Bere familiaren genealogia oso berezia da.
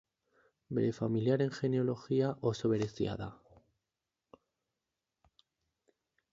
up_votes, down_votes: 8, 0